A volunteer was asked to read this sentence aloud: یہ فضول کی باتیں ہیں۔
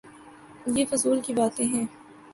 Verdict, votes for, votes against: accepted, 3, 0